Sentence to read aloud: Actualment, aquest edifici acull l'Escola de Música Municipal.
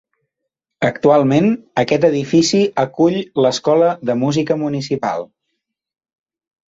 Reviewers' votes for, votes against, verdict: 4, 1, accepted